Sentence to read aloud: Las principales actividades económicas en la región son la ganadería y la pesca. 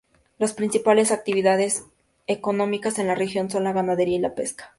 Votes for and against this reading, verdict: 2, 0, accepted